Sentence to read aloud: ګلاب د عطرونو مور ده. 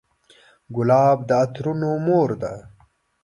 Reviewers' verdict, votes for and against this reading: accepted, 2, 0